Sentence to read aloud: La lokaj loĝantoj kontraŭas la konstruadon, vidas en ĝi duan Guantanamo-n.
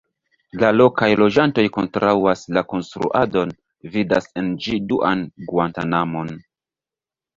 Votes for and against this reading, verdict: 1, 2, rejected